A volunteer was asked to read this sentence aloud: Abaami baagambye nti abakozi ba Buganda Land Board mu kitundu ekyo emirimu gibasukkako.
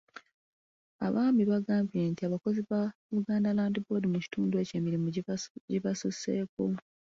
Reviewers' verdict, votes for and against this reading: rejected, 0, 2